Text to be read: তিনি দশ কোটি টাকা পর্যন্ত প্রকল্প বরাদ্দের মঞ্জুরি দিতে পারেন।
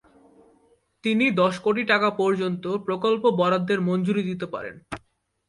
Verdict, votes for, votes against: accepted, 31, 2